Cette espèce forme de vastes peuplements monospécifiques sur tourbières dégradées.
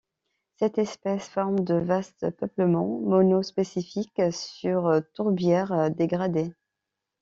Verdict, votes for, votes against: accepted, 2, 0